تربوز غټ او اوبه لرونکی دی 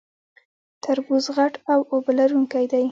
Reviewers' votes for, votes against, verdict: 2, 0, accepted